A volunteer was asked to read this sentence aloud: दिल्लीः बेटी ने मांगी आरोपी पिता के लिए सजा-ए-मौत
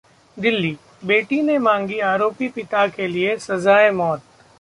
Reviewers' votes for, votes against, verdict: 2, 0, accepted